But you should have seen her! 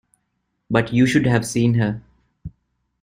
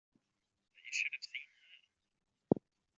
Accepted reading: first